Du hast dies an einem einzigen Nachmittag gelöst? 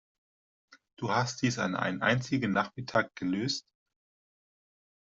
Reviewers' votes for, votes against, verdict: 2, 0, accepted